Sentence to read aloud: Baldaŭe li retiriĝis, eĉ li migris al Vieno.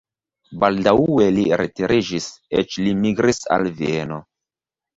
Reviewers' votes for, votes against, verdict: 0, 2, rejected